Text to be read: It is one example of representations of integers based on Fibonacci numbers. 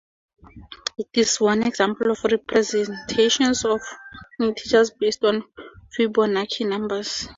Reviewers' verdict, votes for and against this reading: accepted, 2, 0